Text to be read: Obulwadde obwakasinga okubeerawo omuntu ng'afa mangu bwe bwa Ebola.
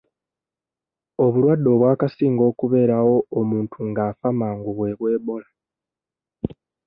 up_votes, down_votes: 0, 2